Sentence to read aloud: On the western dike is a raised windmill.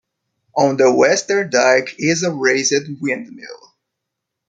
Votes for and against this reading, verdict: 0, 2, rejected